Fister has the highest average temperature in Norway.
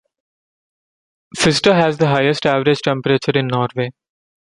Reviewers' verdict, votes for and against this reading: accepted, 2, 0